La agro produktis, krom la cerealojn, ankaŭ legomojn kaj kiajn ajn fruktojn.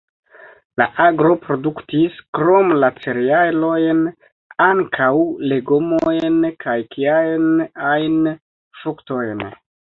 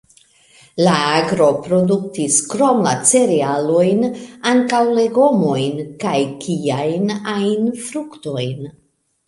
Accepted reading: second